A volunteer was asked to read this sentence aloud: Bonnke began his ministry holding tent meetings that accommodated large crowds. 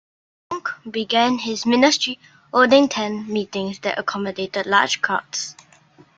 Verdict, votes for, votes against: rejected, 1, 3